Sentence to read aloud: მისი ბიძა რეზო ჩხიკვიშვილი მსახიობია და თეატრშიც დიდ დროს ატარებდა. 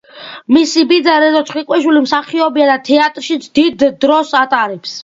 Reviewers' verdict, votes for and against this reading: rejected, 0, 2